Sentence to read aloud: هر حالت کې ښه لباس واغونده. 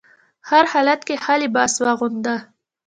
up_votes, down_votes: 2, 1